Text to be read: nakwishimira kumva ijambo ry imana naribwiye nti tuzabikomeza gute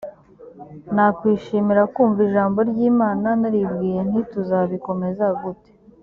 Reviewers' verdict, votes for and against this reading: accepted, 3, 0